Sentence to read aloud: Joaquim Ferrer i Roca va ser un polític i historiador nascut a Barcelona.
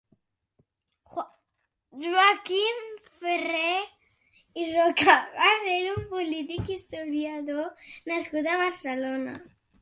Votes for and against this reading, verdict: 0, 2, rejected